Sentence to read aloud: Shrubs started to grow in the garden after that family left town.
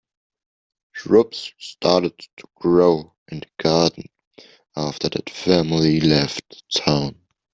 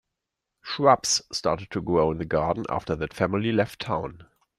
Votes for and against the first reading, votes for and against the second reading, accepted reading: 0, 2, 2, 0, second